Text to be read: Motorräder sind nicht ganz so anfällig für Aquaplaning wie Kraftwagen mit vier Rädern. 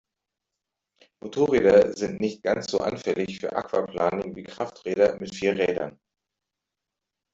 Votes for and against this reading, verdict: 1, 2, rejected